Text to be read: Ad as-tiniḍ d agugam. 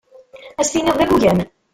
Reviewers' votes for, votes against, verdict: 0, 2, rejected